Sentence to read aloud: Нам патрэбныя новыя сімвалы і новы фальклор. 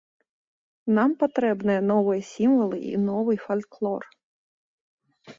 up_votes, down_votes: 3, 0